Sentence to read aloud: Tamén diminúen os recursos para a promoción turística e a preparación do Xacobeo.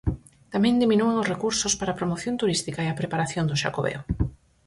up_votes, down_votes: 4, 0